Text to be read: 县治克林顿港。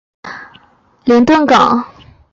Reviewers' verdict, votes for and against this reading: rejected, 0, 4